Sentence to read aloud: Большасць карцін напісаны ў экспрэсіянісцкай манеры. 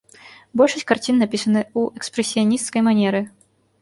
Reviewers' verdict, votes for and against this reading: rejected, 1, 2